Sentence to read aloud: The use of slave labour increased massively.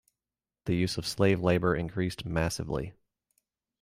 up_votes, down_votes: 2, 0